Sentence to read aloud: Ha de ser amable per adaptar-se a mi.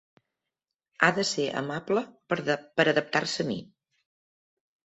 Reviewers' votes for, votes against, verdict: 0, 2, rejected